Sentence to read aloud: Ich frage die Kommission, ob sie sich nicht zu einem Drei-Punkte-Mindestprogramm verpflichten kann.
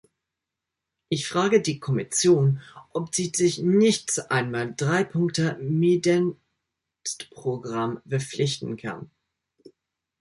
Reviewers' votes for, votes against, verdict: 0, 2, rejected